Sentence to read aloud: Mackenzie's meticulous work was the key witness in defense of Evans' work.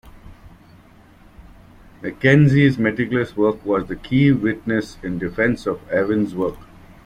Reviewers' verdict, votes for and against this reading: accepted, 2, 0